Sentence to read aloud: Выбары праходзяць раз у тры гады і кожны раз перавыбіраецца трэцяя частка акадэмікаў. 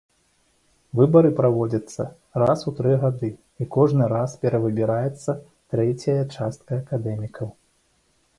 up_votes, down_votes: 1, 2